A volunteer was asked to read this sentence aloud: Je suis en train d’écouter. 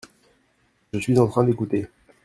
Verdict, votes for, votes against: accepted, 2, 0